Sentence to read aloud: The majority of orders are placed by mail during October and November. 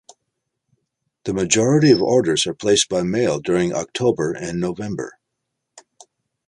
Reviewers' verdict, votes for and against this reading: accepted, 2, 0